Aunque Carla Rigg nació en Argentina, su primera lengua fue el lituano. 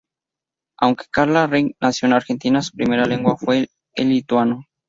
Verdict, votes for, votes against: accepted, 2, 0